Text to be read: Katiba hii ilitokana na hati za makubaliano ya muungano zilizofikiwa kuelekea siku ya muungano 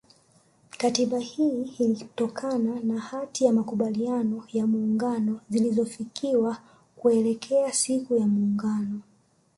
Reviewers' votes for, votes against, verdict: 1, 2, rejected